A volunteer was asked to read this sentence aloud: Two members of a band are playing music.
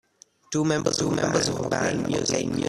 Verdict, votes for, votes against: rejected, 0, 2